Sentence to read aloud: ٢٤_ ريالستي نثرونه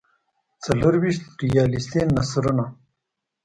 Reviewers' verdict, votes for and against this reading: rejected, 0, 2